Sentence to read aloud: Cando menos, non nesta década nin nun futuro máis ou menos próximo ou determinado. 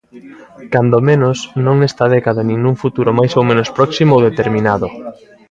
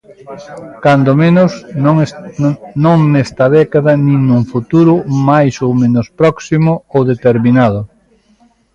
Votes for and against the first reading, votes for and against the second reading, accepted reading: 2, 0, 0, 3, first